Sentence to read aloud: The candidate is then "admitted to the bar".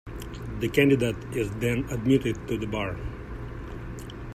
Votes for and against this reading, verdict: 0, 2, rejected